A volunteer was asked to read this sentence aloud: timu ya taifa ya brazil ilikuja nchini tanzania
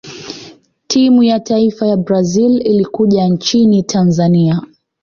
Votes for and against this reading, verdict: 2, 0, accepted